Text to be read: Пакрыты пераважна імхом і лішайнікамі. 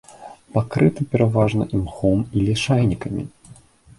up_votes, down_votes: 3, 0